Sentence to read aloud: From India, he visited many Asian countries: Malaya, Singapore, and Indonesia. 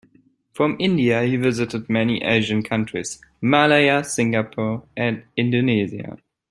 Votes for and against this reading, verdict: 2, 0, accepted